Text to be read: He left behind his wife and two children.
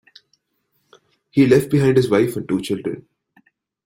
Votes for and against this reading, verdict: 2, 0, accepted